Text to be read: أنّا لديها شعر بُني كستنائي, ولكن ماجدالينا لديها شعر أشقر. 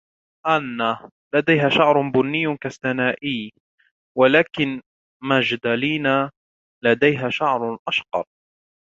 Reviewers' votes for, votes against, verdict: 2, 0, accepted